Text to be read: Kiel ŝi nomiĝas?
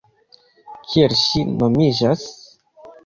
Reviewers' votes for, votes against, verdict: 1, 2, rejected